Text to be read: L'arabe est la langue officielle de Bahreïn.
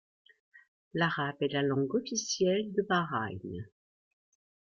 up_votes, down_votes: 2, 0